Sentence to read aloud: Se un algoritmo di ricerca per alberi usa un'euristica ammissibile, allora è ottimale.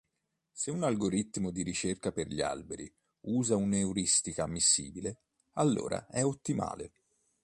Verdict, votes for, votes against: rejected, 1, 2